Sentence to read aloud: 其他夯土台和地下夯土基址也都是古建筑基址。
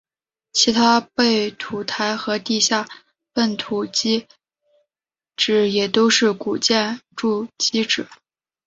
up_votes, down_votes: 0, 2